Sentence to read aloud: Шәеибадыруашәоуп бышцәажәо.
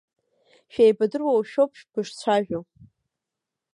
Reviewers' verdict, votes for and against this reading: accepted, 2, 1